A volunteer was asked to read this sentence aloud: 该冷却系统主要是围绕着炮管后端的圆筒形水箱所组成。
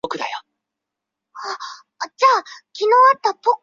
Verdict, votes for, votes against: rejected, 0, 2